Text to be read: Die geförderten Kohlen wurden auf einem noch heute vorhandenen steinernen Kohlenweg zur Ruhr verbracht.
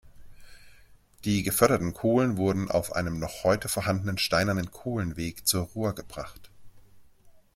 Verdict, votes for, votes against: rejected, 1, 2